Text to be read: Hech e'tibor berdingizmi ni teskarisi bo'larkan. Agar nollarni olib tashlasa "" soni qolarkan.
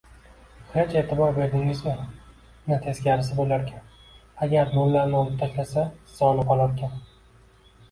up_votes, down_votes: 2, 1